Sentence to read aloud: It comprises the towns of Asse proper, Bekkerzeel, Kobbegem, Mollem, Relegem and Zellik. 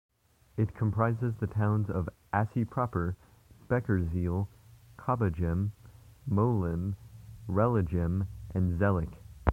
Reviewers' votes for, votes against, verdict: 0, 2, rejected